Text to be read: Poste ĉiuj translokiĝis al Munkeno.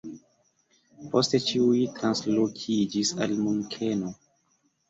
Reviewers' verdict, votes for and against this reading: rejected, 0, 2